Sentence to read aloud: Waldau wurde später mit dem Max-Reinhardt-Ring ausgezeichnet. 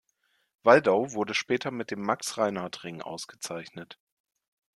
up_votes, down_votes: 2, 0